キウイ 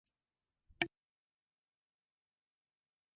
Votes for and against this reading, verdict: 1, 2, rejected